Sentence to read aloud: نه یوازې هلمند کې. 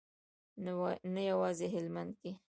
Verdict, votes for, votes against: rejected, 1, 2